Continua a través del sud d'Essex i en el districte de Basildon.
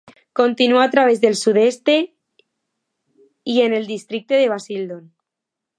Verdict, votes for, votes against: rejected, 0, 2